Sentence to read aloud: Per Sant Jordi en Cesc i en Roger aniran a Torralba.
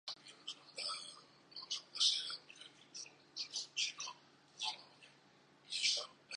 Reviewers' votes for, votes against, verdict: 1, 3, rejected